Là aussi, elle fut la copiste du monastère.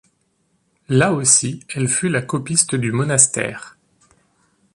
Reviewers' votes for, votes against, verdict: 3, 0, accepted